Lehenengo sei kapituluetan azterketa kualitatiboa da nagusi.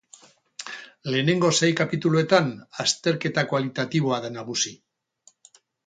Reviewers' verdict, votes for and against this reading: rejected, 2, 2